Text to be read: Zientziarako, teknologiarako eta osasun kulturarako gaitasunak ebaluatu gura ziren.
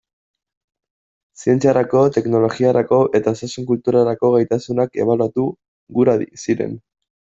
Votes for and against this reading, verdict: 0, 2, rejected